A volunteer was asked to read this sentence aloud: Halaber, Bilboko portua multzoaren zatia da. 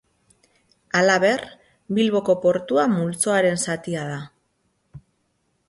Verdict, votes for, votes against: accepted, 6, 0